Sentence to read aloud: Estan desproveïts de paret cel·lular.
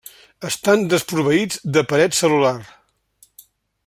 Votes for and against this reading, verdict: 3, 0, accepted